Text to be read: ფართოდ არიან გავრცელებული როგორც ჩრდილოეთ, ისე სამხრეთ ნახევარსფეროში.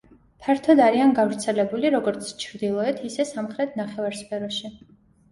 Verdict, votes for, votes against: accepted, 2, 0